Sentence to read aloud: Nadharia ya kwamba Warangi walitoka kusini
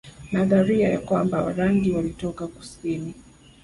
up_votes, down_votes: 7, 0